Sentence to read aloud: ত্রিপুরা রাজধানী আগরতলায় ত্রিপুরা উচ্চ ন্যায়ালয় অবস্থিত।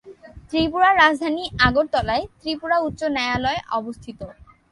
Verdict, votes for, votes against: accepted, 3, 0